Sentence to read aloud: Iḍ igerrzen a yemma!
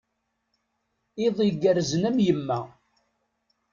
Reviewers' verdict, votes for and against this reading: rejected, 0, 2